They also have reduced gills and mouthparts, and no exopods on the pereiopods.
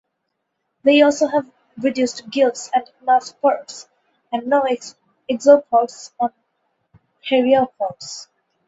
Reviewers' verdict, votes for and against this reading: rejected, 2, 2